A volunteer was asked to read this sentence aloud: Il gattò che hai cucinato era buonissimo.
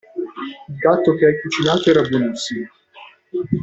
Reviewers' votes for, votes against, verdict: 0, 2, rejected